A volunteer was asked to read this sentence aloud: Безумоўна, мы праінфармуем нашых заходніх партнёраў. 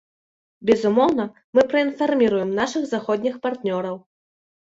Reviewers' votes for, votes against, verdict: 0, 2, rejected